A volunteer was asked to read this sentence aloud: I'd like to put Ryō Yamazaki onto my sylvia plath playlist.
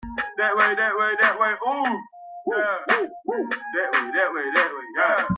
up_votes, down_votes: 0, 2